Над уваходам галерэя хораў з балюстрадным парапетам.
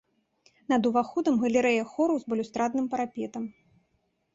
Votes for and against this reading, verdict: 3, 0, accepted